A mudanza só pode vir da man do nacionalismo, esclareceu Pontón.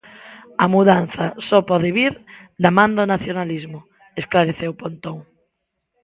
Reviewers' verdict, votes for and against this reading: accepted, 2, 0